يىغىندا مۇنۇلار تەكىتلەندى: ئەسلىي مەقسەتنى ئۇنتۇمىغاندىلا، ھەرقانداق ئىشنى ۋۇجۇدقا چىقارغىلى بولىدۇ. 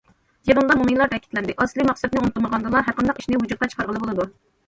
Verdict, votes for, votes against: rejected, 1, 2